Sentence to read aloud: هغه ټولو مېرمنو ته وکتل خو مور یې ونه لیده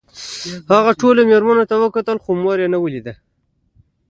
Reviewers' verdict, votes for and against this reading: accepted, 2, 0